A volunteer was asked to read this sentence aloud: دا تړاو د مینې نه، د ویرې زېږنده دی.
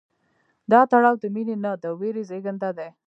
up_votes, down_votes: 1, 2